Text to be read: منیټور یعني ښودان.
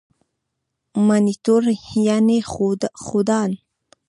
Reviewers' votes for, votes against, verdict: 1, 2, rejected